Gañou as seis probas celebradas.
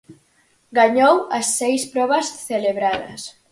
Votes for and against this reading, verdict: 4, 0, accepted